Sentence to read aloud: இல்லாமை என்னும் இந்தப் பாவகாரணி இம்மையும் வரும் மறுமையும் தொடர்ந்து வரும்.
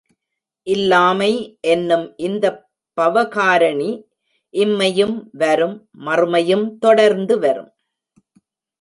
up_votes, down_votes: 0, 2